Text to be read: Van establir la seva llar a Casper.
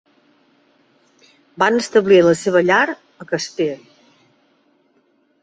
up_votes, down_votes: 3, 0